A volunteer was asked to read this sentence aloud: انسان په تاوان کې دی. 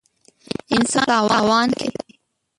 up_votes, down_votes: 0, 2